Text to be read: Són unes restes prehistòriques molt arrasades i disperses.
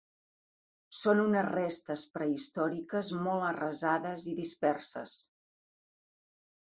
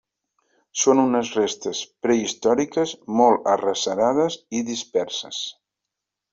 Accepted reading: first